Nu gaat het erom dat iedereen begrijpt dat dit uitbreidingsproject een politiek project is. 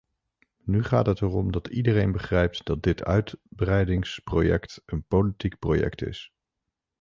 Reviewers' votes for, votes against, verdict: 1, 2, rejected